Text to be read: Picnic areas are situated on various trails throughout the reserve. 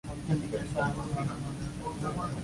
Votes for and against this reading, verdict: 0, 2, rejected